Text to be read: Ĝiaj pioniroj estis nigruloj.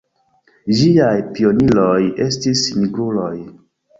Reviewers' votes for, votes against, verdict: 0, 2, rejected